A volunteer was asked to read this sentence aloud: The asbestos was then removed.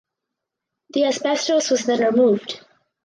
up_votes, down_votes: 4, 0